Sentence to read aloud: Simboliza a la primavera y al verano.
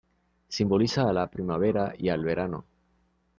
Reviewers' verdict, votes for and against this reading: rejected, 1, 2